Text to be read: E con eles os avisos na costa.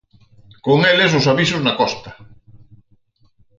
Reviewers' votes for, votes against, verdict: 2, 4, rejected